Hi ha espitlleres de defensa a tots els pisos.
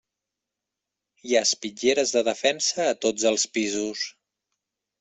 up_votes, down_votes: 3, 0